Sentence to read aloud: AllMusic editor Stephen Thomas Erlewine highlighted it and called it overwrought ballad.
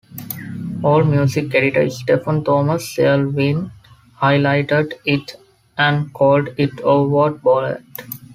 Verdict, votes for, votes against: rejected, 1, 2